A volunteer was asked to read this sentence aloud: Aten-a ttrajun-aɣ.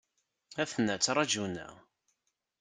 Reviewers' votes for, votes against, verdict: 2, 1, accepted